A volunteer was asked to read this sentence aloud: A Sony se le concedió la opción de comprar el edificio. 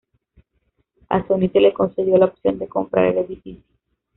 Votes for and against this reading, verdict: 2, 1, accepted